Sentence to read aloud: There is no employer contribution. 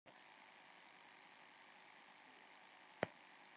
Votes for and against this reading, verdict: 0, 3, rejected